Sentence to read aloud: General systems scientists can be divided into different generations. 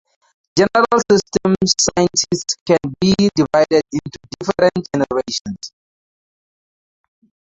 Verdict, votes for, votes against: accepted, 4, 0